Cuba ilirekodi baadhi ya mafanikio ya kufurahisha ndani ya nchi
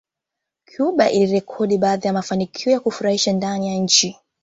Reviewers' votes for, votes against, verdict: 2, 1, accepted